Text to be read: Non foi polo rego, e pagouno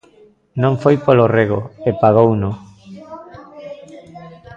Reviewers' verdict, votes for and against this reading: rejected, 1, 3